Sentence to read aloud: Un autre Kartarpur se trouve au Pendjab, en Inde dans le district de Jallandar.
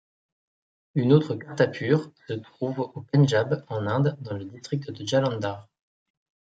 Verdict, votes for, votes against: rejected, 1, 2